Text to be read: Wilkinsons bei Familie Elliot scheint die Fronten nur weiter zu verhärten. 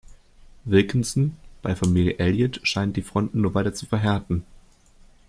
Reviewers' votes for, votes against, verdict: 2, 0, accepted